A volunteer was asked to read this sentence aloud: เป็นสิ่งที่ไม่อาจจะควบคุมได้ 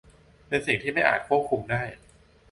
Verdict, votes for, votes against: rejected, 0, 2